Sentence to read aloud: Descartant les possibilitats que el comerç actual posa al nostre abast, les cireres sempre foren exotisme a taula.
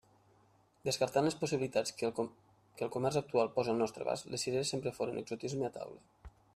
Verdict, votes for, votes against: rejected, 0, 2